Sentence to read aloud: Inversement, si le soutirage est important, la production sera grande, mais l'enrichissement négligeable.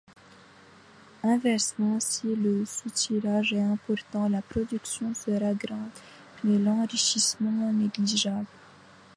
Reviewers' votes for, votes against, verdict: 2, 0, accepted